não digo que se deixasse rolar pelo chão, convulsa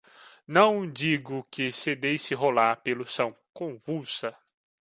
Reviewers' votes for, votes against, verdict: 0, 2, rejected